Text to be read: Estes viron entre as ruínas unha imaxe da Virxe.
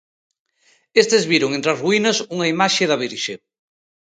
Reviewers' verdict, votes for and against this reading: accepted, 2, 0